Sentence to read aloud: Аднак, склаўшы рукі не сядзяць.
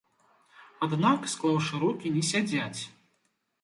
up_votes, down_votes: 2, 0